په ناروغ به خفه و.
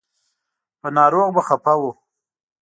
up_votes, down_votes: 2, 0